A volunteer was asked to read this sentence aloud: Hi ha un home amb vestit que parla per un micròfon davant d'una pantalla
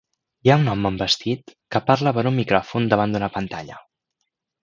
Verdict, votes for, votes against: accepted, 2, 0